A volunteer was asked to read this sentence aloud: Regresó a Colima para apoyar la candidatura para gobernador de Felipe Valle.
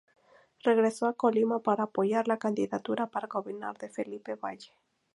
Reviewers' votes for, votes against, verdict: 0, 2, rejected